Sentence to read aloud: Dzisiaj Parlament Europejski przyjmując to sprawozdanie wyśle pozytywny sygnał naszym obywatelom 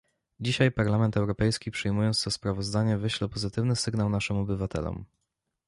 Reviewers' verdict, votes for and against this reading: accepted, 2, 0